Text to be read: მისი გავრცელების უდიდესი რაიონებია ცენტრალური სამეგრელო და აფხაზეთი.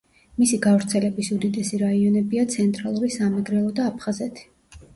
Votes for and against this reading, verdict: 2, 0, accepted